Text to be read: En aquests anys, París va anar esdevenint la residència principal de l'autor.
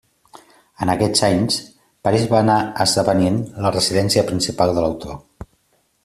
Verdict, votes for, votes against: accepted, 3, 0